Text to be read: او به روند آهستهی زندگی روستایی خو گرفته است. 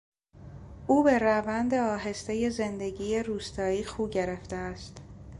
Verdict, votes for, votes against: accepted, 2, 0